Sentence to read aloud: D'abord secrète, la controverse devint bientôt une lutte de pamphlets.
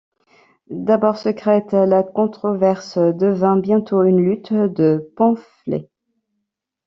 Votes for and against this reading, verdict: 1, 2, rejected